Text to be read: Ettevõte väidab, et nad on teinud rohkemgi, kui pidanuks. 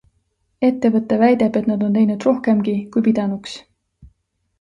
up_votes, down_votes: 2, 0